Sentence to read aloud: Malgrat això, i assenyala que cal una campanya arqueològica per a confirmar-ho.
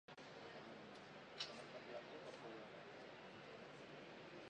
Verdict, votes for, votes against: rejected, 0, 2